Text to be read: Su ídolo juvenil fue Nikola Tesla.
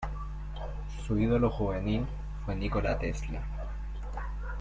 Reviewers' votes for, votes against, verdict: 2, 1, accepted